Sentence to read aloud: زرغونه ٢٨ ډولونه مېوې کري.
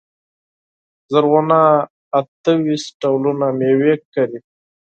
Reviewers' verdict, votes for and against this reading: rejected, 0, 2